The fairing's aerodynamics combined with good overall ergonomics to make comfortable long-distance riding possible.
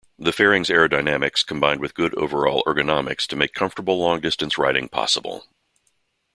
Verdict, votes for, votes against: accepted, 2, 0